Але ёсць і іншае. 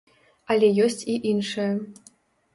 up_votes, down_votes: 2, 0